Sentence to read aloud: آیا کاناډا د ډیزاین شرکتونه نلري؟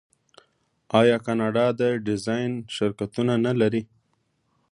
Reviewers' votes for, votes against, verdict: 2, 0, accepted